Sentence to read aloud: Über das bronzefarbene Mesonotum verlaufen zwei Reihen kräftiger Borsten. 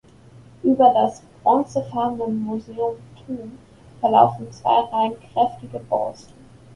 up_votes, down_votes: 0, 2